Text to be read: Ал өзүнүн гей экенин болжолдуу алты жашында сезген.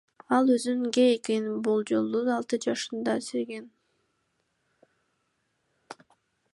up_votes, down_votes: 0, 2